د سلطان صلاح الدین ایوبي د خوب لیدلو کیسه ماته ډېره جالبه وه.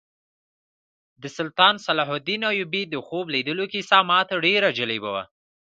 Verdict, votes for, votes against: accepted, 3, 0